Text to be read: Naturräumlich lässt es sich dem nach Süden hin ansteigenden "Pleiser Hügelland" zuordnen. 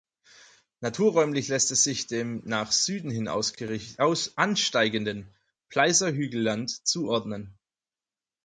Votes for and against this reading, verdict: 0, 4, rejected